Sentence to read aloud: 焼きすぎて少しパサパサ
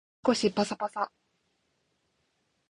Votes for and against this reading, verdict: 1, 2, rejected